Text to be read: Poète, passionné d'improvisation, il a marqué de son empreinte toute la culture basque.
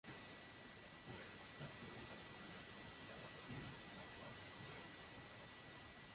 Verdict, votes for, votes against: rejected, 0, 2